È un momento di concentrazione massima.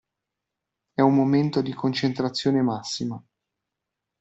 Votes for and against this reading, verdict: 2, 0, accepted